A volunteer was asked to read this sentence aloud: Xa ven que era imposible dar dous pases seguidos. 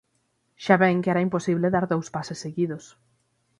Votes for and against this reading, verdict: 6, 3, accepted